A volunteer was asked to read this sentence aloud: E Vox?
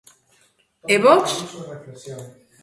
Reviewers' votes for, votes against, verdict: 1, 2, rejected